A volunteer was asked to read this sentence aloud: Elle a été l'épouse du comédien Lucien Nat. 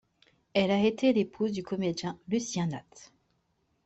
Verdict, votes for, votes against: accepted, 2, 0